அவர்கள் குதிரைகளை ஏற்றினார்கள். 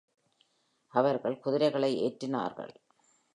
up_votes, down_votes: 2, 0